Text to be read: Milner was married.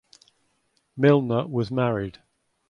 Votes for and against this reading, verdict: 2, 0, accepted